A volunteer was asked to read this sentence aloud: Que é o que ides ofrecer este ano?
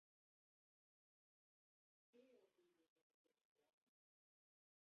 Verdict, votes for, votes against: rejected, 0, 2